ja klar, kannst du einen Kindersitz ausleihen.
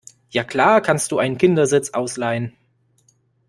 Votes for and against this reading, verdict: 2, 0, accepted